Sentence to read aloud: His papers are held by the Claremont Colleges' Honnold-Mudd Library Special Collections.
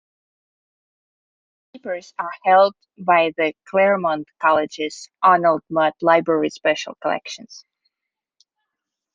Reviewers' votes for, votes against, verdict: 1, 2, rejected